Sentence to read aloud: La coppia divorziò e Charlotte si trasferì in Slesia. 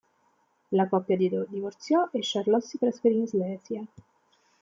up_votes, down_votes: 1, 2